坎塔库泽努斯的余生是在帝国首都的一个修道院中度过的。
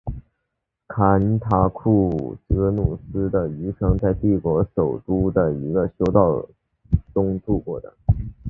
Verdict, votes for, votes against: accepted, 3, 2